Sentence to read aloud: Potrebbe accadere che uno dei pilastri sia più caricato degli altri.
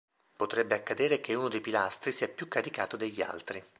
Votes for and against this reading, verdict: 2, 0, accepted